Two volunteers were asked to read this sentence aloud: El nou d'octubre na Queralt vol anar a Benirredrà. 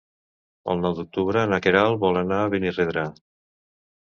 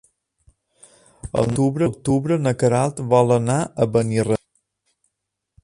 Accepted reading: first